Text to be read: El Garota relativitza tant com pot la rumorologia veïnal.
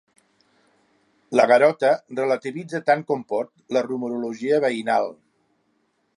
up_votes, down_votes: 0, 3